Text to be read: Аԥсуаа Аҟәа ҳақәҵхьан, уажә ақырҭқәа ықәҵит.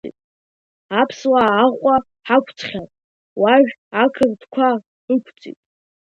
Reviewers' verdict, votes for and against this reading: accepted, 2, 1